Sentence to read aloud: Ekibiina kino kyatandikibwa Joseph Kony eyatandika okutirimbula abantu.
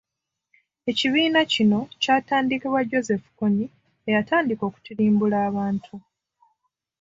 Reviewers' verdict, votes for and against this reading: accepted, 2, 0